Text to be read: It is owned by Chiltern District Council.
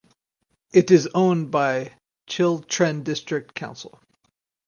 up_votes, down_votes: 2, 2